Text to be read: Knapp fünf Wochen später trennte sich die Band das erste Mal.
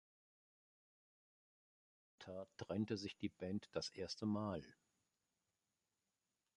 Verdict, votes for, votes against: rejected, 0, 2